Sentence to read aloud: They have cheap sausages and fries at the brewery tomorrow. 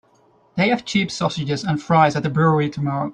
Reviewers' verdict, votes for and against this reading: accepted, 3, 0